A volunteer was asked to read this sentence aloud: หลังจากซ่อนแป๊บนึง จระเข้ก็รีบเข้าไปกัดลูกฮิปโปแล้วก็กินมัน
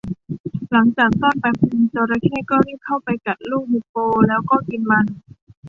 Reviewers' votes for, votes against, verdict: 2, 0, accepted